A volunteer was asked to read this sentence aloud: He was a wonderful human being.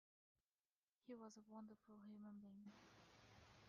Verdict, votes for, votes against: rejected, 1, 2